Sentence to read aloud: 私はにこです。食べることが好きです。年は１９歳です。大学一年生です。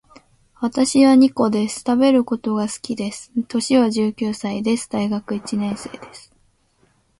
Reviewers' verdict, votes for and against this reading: rejected, 0, 2